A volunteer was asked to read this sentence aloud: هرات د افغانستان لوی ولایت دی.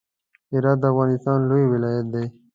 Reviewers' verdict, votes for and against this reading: accepted, 2, 0